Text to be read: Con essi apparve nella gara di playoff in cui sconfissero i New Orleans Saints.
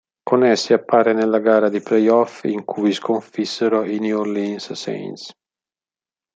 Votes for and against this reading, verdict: 0, 2, rejected